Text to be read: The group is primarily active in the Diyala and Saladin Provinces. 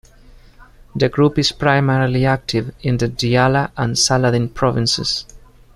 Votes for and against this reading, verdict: 2, 0, accepted